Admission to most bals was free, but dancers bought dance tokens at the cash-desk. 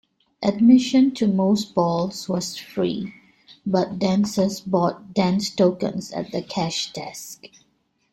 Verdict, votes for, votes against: accepted, 2, 1